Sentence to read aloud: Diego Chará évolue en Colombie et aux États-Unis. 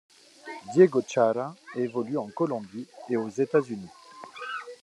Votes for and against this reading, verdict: 2, 1, accepted